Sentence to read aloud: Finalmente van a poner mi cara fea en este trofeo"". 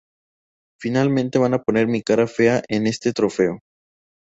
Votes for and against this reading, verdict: 2, 2, rejected